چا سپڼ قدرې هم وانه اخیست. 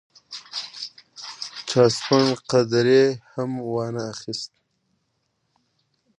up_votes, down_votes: 1, 2